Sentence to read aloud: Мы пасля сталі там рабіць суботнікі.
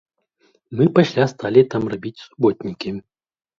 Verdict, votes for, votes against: accepted, 2, 0